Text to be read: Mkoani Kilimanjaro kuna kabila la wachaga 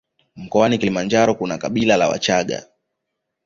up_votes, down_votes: 2, 1